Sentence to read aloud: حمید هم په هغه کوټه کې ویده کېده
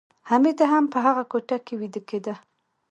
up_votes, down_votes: 2, 0